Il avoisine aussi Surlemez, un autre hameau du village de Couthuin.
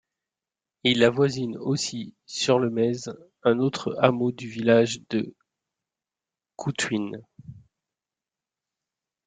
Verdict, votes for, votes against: rejected, 1, 2